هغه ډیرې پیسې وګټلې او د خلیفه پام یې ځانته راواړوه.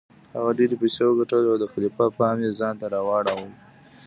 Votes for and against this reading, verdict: 2, 0, accepted